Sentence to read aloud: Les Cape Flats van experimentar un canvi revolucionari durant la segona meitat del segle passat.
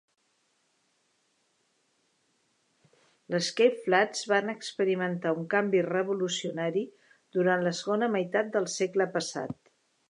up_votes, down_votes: 1, 2